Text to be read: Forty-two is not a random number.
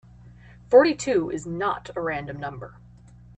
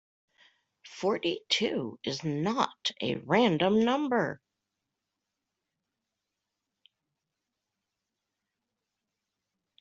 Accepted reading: first